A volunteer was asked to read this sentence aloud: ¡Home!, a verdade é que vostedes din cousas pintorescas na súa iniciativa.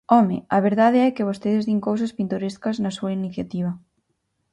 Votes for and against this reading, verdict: 4, 0, accepted